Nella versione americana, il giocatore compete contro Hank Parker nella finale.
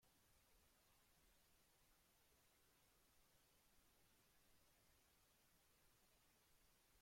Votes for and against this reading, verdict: 0, 2, rejected